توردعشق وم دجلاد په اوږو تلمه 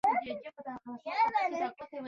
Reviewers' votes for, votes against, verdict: 0, 2, rejected